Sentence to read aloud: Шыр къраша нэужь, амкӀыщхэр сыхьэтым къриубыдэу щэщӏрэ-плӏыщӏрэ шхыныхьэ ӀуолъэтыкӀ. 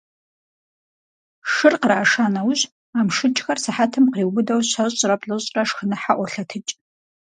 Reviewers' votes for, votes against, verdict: 0, 4, rejected